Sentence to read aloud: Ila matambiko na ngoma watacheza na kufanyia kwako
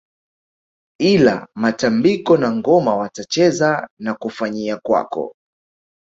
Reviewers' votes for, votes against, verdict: 5, 1, accepted